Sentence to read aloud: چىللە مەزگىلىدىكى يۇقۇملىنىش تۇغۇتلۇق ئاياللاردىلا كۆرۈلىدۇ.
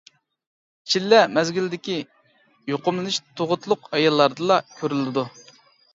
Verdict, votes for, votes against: accepted, 2, 0